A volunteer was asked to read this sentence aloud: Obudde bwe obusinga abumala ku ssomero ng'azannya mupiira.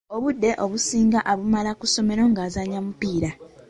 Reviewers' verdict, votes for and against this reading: accepted, 2, 1